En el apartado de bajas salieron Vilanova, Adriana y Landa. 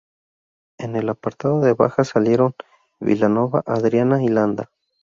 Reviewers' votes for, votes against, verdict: 0, 2, rejected